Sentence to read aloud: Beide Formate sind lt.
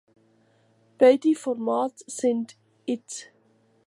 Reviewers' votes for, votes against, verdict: 1, 3, rejected